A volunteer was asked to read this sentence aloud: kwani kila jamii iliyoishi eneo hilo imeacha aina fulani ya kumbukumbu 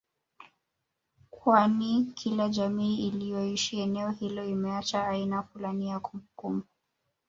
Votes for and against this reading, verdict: 2, 0, accepted